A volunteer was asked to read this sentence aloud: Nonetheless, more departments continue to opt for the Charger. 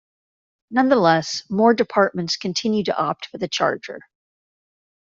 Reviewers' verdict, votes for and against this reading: accepted, 2, 0